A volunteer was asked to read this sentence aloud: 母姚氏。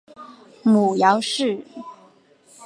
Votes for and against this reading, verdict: 6, 0, accepted